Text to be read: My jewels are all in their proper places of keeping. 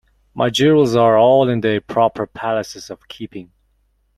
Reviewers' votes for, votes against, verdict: 0, 2, rejected